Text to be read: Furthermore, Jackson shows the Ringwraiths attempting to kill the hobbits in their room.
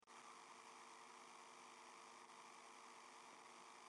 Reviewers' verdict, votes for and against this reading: rejected, 0, 2